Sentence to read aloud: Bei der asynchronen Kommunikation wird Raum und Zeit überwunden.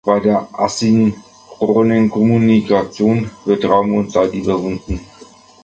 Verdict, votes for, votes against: accepted, 2, 0